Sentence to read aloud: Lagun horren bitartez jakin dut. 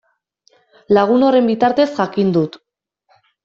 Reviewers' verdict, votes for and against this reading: accepted, 2, 0